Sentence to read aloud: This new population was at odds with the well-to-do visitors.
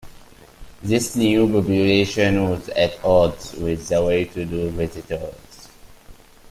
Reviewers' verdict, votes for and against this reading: accepted, 2, 1